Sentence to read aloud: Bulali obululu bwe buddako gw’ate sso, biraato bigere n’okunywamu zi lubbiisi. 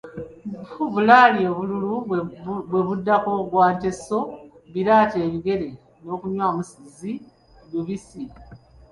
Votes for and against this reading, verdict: 0, 2, rejected